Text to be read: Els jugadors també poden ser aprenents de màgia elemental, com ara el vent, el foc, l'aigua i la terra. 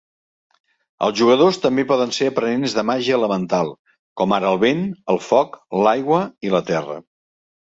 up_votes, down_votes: 3, 0